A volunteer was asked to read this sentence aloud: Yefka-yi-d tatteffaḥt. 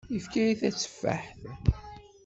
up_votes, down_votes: 1, 2